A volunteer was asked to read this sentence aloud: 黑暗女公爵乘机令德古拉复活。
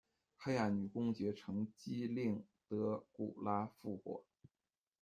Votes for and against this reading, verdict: 1, 2, rejected